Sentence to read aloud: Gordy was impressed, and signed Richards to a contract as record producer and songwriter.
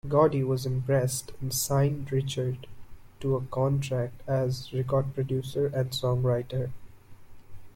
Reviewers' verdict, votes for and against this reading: accepted, 2, 0